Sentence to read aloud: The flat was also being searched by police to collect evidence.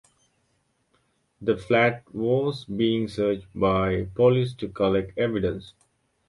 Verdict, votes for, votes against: rejected, 1, 2